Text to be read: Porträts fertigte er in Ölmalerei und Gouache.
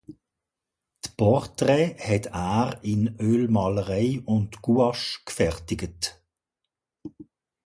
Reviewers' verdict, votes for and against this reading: rejected, 1, 2